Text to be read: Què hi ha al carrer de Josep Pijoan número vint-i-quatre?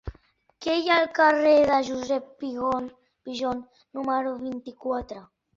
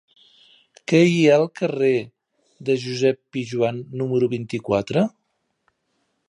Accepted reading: second